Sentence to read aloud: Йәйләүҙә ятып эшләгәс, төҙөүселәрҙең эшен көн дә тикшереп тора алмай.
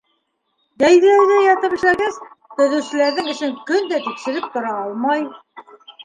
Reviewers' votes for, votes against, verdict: 0, 2, rejected